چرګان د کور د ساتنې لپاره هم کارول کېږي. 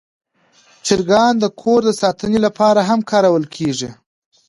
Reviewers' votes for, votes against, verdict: 2, 0, accepted